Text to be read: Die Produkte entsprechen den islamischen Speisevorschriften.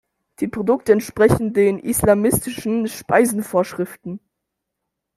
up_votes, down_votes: 0, 2